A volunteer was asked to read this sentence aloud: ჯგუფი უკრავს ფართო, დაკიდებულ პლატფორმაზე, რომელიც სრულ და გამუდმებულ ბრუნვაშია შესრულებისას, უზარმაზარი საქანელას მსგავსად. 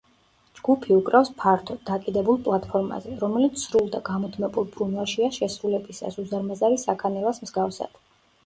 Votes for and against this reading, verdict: 2, 0, accepted